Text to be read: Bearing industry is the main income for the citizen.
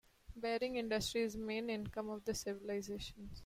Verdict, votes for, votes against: rejected, 0, 2